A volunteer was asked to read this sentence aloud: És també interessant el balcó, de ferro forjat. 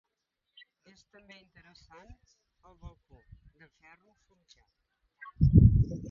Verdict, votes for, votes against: rejected, 0, 2